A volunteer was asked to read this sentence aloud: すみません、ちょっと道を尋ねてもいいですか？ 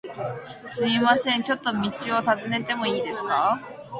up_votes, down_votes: 2, 0